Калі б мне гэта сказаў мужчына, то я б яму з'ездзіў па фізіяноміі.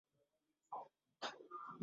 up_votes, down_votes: 0, 2